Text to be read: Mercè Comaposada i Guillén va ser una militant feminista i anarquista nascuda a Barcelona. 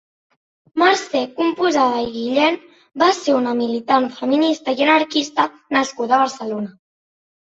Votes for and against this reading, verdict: 2, 0, accepted